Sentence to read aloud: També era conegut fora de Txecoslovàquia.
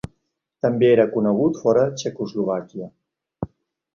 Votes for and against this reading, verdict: 2, 3, rejected